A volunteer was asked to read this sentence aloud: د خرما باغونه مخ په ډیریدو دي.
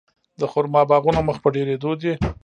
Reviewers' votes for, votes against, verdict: 2, 0, accepted